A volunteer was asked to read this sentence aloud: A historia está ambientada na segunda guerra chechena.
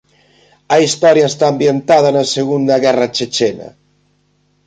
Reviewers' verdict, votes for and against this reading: accepted, 2, 0